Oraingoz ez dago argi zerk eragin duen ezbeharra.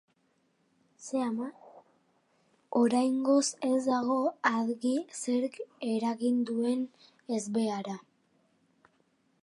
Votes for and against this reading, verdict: 3, 1, accepted